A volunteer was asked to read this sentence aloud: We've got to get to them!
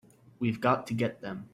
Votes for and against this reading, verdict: 1, 2, rejected